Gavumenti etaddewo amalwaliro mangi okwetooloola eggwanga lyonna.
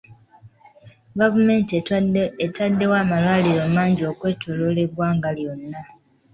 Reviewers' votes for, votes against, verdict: 2, 1, accepted